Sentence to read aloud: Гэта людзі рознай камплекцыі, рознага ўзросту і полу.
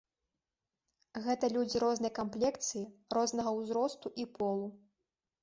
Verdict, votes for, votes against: accepted, 2, 0